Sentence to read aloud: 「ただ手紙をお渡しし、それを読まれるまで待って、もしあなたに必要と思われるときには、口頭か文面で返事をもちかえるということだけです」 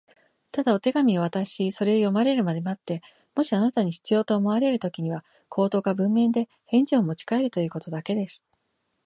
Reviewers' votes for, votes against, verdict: 2, 0, accepted